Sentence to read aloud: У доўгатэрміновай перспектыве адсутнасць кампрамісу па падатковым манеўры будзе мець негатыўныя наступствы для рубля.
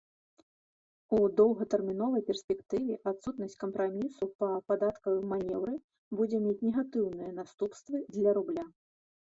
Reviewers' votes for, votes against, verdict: 0, 2, rejected